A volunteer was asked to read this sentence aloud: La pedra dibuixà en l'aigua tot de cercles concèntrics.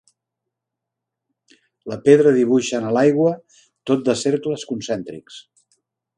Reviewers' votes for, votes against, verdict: 2, 1, accepted